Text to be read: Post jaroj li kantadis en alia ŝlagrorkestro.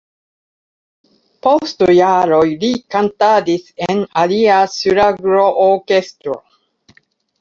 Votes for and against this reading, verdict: 2, 0, accepted